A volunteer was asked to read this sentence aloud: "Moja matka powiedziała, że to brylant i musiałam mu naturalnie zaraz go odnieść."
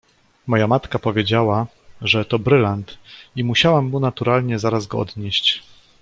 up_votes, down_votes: 2, 0